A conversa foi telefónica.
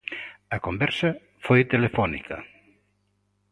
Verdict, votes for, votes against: accepted, 2, 0